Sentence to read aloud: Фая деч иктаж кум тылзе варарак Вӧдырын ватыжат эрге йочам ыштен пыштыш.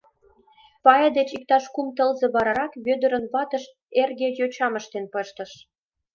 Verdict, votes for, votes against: rejected, 1, 2